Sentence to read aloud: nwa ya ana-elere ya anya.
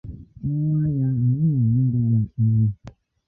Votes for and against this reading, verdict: 0, 2, rejected